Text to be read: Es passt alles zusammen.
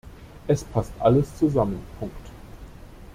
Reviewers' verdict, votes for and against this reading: rejected, 1, 2